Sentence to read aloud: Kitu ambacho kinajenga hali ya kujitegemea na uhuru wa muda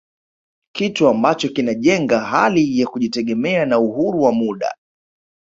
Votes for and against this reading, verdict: 0, 2, rejected